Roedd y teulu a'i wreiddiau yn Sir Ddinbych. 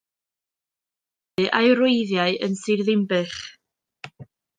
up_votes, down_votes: 0, 2